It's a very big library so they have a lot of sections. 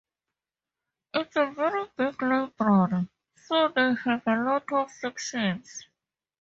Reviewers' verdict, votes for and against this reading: rejected, 2, 2